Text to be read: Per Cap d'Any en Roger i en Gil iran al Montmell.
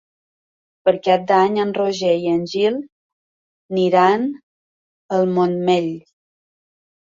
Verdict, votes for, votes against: rejected, 1, 2